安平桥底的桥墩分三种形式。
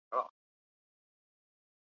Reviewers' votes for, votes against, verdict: 1, 2, rejected